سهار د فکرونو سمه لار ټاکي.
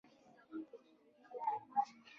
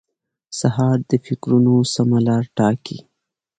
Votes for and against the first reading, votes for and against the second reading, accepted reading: 0, 2, 2, 0, second